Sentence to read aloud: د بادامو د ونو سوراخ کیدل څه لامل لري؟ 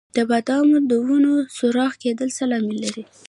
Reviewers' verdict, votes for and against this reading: rejected, 0, 2